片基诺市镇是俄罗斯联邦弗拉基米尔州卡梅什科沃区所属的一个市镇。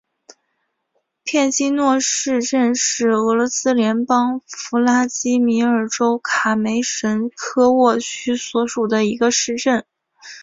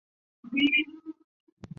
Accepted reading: first